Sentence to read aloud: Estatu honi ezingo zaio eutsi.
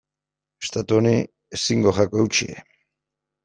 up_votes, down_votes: 2, 0